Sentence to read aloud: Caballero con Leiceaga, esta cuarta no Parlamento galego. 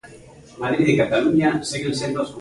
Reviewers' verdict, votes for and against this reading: rejected, 0, 2